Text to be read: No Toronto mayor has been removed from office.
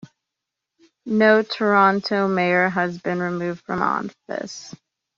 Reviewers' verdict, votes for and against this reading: accepted, 2, 1